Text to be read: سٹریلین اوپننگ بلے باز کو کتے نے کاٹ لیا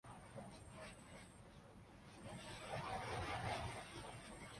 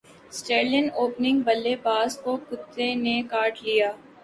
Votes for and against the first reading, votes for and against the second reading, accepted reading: 0, 2, 2, 0, second